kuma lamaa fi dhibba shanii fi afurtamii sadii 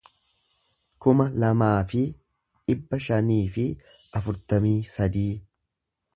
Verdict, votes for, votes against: accepted, 2, 0